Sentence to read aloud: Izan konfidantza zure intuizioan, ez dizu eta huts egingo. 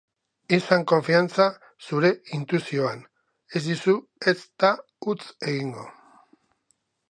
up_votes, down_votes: 0, 2